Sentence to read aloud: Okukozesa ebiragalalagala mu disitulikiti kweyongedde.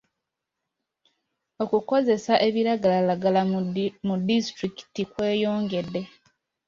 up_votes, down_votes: 1, 2